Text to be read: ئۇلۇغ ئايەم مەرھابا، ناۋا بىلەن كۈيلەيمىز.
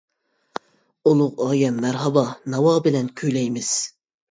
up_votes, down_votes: 2, 0